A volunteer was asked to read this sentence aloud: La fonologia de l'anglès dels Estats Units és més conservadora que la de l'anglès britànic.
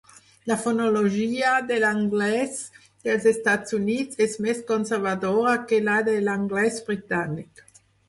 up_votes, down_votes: 4, 0